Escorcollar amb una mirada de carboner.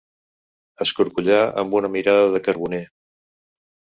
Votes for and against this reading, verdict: 4, 0, accepted